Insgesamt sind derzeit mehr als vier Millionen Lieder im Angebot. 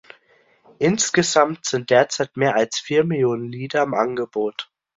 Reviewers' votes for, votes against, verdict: 2, 1, accepted